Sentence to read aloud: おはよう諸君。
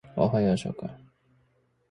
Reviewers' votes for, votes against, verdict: 0, 2, rejected